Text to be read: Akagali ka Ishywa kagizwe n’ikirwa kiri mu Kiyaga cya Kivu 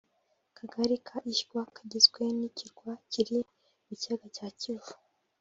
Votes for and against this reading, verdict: 4, 0, accepted